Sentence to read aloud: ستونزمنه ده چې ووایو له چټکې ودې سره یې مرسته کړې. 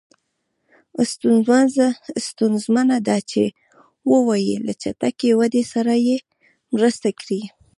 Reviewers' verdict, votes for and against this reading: rejected, 1, 2